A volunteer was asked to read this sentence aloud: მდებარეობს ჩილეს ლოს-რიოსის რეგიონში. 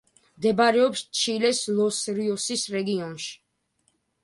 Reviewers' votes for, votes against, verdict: 3, 0, accepted